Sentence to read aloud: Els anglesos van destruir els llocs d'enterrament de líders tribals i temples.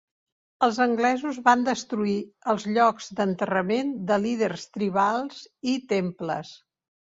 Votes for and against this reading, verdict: 3, 0, accepted